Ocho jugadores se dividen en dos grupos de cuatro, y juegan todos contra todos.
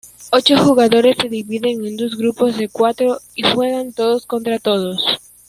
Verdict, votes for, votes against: accepted, 2, 0